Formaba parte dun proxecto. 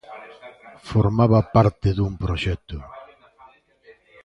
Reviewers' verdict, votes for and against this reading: rejected, 0, 2